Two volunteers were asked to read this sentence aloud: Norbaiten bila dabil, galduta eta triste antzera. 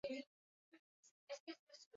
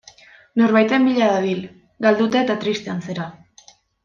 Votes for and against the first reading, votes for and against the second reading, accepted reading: 0, 2, 2, 0, second